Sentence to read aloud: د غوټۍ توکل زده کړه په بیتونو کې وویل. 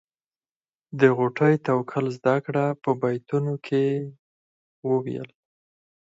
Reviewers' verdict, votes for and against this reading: accepted, 4, 2